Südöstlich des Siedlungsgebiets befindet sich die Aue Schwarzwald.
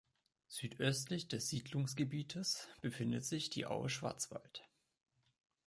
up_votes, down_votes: 1, 3